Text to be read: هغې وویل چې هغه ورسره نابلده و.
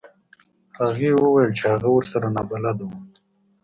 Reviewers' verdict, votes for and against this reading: accepted, 3, 0